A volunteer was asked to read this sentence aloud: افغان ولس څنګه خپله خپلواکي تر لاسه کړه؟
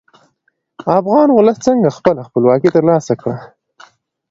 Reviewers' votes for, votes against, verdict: 2, 0, accepted